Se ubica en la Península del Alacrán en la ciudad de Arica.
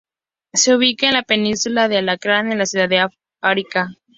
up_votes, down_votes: 0, 4